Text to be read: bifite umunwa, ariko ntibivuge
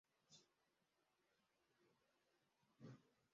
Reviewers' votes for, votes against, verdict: 0, 2, rejected